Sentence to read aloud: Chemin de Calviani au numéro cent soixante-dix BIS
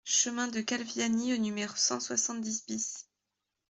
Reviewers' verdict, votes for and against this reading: accepted, 2, 0